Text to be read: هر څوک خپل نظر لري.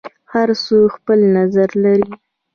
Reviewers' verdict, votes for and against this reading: rejected, 0, 2